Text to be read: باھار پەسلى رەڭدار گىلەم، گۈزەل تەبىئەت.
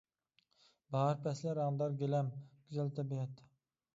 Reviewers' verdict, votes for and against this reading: accepted, 2, 0